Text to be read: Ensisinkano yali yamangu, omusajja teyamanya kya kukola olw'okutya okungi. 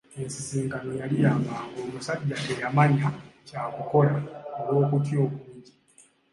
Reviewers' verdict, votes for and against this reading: accepted, 2, 0